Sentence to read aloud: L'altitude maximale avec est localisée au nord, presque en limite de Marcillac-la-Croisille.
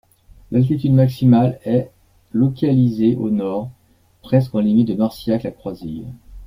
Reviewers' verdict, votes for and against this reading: rejected, 1, 2